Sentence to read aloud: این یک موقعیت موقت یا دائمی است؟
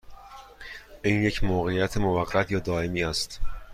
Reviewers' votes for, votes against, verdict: 2, 0, accepted